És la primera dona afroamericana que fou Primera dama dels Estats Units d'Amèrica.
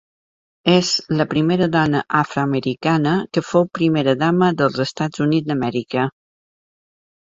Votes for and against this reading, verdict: 2, 0, accepted